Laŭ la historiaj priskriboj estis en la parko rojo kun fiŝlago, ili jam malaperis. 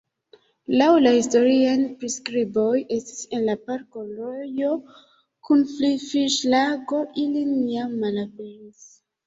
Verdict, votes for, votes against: rejected, 1, 2